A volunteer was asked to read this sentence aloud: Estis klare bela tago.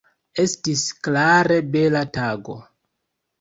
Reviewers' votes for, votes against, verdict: 2, 0, accepted